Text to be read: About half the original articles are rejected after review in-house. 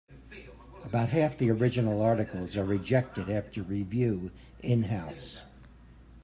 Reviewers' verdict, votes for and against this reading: rejected, 1, 2